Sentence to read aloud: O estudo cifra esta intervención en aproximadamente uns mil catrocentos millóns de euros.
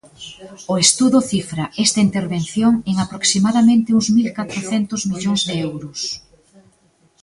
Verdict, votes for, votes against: rejected, 0, 2